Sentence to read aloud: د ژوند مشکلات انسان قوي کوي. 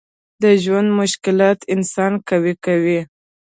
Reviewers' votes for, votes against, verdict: 2, 0, accepted